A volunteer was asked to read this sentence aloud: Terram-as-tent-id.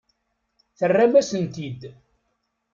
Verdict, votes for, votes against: rejected, 1, 2